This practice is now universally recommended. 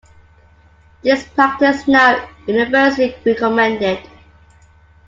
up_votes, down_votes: 1, 3